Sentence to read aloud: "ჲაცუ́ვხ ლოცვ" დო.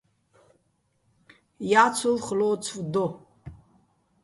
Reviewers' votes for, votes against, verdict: 0, 2, rejected